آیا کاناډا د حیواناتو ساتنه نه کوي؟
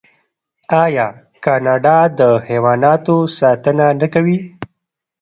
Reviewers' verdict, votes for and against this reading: rejected, 1, 2